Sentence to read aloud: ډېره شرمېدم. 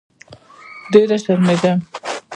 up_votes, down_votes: 1, 2